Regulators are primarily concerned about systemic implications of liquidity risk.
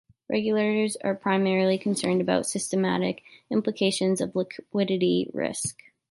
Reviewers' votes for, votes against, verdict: 0, 2, rejected